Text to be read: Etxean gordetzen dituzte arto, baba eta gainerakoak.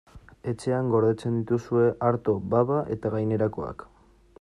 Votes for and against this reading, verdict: 1, 2, rejected